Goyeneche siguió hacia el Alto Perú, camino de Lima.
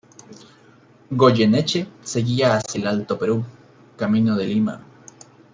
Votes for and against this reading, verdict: 1, 2, rejected